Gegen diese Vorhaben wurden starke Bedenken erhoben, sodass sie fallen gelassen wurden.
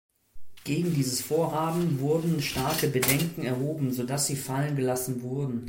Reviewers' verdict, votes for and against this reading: rejected, 2, 3